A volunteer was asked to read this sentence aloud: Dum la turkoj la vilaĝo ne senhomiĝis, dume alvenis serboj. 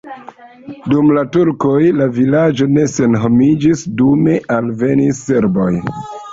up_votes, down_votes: 1, 2